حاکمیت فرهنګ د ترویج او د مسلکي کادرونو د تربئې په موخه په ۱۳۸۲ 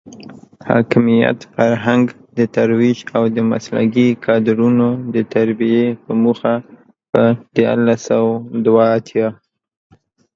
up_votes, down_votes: 0, 2